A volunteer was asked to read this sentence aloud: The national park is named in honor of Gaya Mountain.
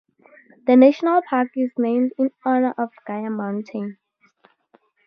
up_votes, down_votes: 0, 2